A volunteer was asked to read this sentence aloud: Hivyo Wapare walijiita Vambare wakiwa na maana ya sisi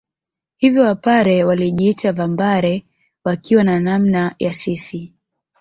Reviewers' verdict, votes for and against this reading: accepted, 2, 0